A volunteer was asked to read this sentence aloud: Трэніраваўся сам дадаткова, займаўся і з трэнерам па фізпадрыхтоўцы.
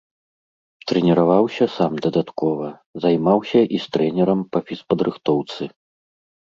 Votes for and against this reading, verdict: 2, 0, accepted